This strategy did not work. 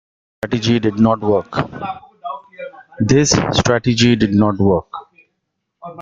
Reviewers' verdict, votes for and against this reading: rejected, 0, 2